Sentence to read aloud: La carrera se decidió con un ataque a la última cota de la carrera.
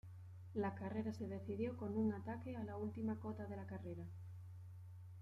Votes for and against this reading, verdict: 1, 2, rejected